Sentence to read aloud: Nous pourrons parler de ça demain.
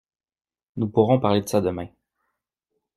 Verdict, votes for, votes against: accepted, 2, 0